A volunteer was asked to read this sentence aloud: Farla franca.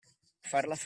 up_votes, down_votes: 0, 2